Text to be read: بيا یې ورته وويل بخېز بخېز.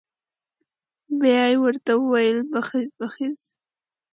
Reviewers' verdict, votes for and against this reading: accepted, 2, 0